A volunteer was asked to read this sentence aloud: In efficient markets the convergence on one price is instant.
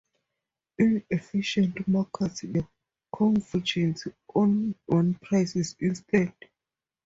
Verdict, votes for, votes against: rejected, 0, 2